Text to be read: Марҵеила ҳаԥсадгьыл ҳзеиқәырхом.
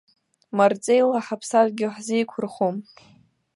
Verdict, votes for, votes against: accepted, 2, 0